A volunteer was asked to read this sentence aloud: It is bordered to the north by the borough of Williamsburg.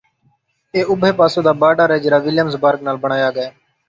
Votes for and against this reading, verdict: 0, 2, rejected